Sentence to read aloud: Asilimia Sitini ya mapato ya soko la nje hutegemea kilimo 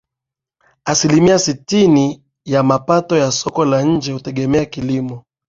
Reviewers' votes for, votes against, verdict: 7, 0, accepted